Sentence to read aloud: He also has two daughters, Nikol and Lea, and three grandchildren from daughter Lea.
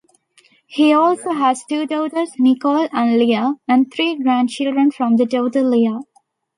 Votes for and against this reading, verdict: 2, 0, accepted